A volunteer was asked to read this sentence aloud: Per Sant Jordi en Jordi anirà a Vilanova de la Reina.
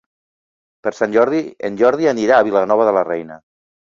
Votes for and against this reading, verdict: 3, 0, accepted